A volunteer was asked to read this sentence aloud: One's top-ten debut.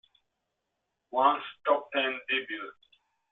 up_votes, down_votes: 1, 2